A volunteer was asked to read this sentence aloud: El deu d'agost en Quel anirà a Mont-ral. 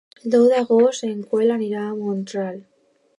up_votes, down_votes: 0, 2